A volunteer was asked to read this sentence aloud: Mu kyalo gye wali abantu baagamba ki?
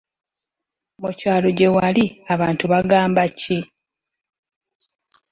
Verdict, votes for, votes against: rejected, 1, 2